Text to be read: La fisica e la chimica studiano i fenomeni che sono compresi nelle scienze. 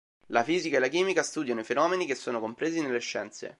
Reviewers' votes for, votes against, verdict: 2, 0, accepted